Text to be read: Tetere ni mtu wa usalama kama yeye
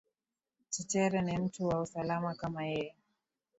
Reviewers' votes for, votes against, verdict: 2, 1, accepted